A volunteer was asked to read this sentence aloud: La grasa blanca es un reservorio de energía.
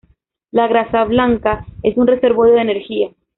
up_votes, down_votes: 2, 0